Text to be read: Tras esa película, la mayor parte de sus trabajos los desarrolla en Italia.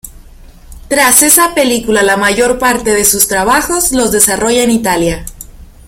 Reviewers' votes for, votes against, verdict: 2, 1, accepted